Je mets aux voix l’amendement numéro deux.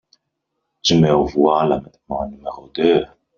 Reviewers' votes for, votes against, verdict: 1, 2, rejected